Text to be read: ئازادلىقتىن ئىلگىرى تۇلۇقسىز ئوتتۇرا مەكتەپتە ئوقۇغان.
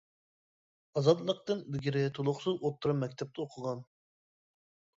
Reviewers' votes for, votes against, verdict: 2, 0, accepted